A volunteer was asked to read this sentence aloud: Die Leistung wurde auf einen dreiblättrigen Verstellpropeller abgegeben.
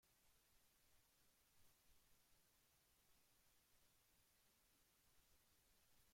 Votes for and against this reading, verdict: 0, 2, rejected